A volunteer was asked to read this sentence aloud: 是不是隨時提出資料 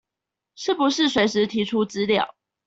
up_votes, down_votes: 2, 0